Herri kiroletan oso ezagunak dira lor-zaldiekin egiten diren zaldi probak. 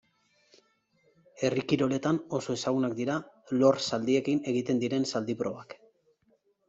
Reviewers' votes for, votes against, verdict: 2, 0, accepted